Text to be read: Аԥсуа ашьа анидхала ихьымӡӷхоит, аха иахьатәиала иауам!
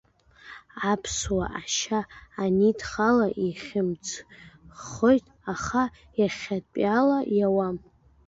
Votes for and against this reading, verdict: 1, 2, rejected